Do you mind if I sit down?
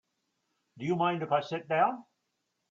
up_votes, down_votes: 2, 0